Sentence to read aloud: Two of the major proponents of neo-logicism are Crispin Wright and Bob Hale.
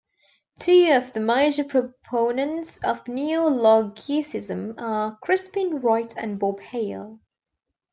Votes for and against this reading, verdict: 0, 2, rejected